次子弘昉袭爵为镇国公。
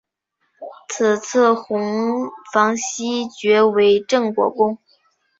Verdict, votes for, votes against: accepted, 4, 1